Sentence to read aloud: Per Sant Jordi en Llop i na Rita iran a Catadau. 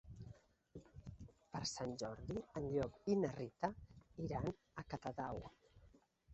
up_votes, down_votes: 0, 2